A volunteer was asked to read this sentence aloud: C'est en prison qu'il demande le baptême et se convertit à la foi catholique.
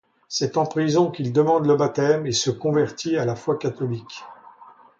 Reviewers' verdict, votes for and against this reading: accepted, 2, 0